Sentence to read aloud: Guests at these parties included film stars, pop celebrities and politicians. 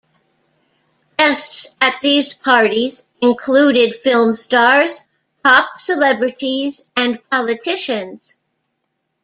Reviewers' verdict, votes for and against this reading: accepted, 2, 0